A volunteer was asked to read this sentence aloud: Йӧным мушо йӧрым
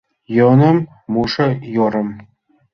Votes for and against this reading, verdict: 2, 0, accepted